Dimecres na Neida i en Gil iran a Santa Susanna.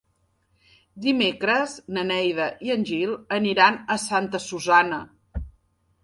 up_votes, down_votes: 0, 2